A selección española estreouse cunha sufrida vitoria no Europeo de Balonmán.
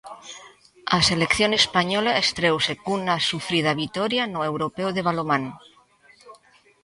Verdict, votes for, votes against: rejected, 1, 2